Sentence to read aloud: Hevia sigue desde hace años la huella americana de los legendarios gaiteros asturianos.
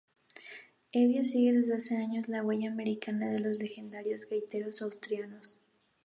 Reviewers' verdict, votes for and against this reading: accepted, 2, 0